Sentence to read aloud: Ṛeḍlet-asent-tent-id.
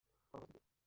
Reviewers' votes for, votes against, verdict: 1, 3, rejected